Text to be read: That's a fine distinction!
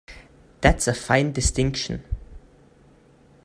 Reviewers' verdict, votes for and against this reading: accepted, 2, 0